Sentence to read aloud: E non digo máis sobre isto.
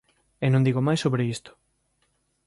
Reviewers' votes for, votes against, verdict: 2, 0, accepted